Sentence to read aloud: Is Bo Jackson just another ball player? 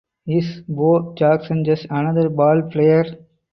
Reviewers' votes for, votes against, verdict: 2, 0, accepted